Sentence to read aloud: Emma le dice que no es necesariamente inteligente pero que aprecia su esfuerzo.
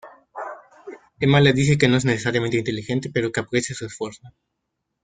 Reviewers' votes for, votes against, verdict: 1, 2, rejected